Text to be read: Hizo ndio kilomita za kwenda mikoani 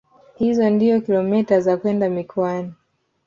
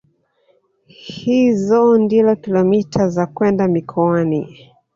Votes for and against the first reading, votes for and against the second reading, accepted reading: 2, 0, 1, 2, first